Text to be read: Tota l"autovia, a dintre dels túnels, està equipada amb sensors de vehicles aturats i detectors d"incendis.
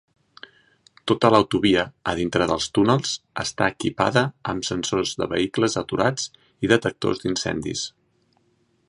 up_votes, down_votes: 4, 0